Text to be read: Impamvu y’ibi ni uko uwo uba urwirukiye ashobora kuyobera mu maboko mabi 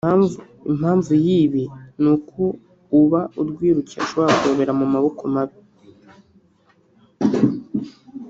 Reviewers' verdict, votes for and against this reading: rejected, 0, 2